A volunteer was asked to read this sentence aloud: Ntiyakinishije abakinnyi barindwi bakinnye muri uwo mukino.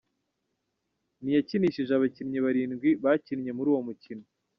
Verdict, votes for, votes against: rejected, 1, 2